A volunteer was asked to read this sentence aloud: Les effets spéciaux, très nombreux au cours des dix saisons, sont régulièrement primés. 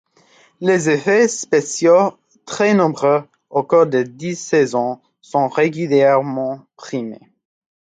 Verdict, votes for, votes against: accepted, 2, 1